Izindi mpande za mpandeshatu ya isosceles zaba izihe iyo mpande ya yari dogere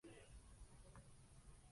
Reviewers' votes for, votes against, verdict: 0, 2, rejected